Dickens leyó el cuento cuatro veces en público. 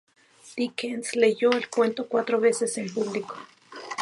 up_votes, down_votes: 2, 0